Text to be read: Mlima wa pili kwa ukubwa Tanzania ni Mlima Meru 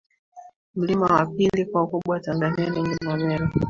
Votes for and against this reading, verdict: 2, 1, accepted